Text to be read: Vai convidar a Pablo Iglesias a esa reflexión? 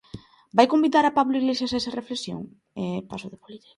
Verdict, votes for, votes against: rejected, 0, 2